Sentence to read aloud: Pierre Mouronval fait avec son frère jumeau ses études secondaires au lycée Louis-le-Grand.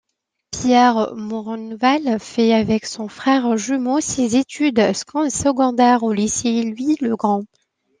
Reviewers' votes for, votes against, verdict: 2, 0, accepted